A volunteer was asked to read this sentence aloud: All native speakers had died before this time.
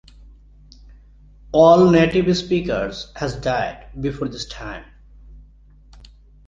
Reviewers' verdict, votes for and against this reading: rejected, 1, 2